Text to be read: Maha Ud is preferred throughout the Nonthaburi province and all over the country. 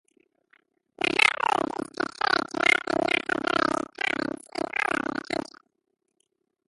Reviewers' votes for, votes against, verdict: 0, 2, rejected